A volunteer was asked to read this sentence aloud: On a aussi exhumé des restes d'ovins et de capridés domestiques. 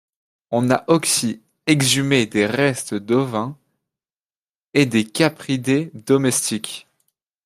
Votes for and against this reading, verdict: 1, 2, rejected